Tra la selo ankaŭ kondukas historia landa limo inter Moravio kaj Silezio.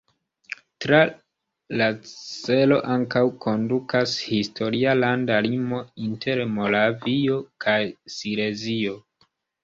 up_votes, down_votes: 1, 2